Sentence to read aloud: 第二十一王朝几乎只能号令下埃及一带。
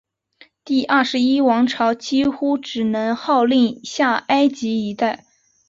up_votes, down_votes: 2, 0